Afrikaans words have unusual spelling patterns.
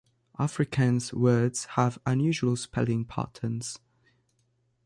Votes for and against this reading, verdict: 2, 1, accepted